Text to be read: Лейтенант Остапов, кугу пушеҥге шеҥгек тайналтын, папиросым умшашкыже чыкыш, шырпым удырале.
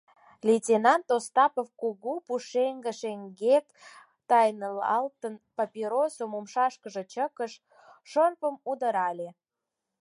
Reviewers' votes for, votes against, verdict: 0, 4, rejected